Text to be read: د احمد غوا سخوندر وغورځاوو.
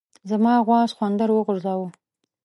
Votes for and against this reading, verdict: 2, 3, rejected